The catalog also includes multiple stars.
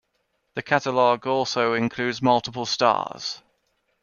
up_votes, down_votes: 2, 0